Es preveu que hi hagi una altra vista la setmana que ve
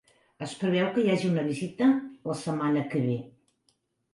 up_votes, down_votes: 1, 2